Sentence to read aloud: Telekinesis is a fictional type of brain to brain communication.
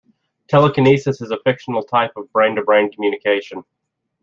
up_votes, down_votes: 2, 0